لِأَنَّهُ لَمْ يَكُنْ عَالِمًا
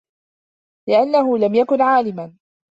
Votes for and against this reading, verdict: 4, 0, accepted